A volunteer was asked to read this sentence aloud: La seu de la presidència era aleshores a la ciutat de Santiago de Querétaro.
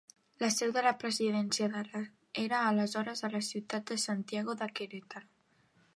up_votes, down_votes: 0, 2